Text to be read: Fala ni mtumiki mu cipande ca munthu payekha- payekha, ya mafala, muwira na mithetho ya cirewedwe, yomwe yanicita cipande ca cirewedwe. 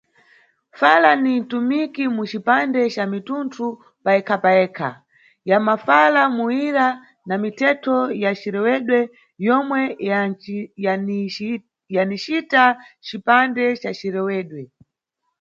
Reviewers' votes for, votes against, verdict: 1, 2, rejected